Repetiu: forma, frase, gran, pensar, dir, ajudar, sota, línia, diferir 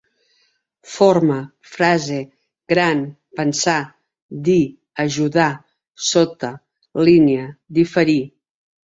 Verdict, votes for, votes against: rejected, 1, 2